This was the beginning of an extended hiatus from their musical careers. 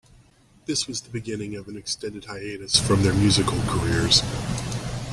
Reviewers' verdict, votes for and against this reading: accepted, 2, 0